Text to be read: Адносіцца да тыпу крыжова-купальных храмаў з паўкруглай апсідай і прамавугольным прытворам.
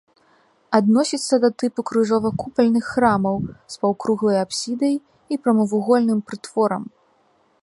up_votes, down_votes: 3, 0